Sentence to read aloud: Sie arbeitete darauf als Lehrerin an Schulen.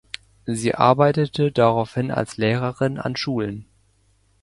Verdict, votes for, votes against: rejected, 0, 2